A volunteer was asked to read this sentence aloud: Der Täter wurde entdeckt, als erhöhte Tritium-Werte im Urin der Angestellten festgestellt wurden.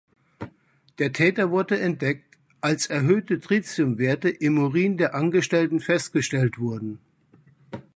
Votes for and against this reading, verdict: 3, 0, accepted